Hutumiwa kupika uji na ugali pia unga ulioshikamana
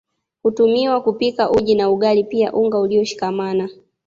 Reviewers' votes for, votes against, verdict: 2, 0, accepted